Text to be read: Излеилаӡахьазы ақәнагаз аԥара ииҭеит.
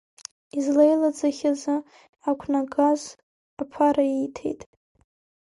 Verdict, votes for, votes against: accepted, 2, 1